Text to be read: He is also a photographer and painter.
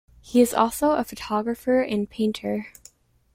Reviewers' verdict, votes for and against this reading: accepted, 2, 0